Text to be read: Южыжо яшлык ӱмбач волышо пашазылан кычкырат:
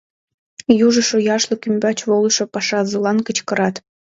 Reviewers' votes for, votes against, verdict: 2, 0, accepted